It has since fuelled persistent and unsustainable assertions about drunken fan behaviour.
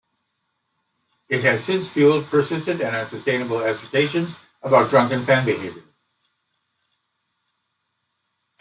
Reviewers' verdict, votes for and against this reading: rejected, 1, 2